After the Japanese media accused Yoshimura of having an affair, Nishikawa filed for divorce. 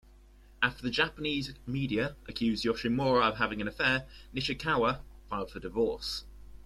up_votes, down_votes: 2, 0